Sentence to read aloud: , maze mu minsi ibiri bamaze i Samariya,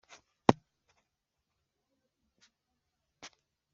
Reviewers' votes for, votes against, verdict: 0, 2, rejected